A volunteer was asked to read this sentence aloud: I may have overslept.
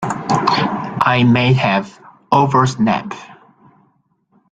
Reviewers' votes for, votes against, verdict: 0, 2, rejected